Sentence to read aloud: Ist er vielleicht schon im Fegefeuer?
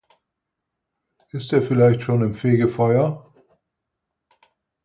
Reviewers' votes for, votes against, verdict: 4, 0, accepted